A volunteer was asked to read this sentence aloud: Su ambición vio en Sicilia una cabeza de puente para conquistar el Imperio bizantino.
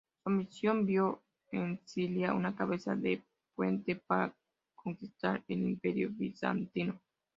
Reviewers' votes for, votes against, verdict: 0, 2, rejected